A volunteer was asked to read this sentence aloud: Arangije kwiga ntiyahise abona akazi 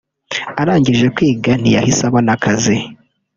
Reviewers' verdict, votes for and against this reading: rejected, 1, 2